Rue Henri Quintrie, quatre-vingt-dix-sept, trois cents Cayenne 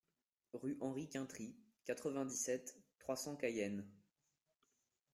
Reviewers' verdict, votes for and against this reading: rejected, 0, 2